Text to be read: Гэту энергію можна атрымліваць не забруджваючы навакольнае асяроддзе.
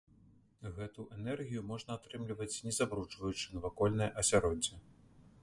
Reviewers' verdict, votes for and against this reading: rejected, 0, 2